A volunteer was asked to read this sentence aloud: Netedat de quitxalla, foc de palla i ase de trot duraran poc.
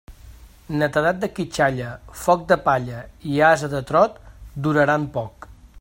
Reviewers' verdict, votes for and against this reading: accepted, 2, 0